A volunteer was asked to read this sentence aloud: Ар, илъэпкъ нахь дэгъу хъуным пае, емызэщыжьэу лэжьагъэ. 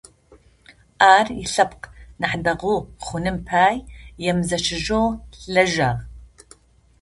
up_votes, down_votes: 0, 2